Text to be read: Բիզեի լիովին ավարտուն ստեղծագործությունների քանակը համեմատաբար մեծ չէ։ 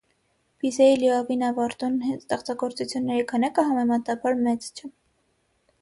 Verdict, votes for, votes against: rejected, 3, 6